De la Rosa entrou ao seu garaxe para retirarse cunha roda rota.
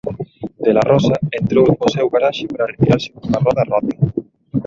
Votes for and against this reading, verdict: 0, 2, rejected